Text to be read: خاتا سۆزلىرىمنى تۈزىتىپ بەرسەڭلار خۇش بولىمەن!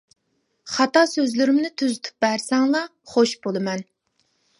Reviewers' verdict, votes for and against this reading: accepted, 2, 0